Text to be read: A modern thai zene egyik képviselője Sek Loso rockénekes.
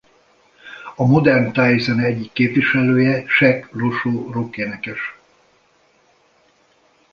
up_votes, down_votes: 1, 2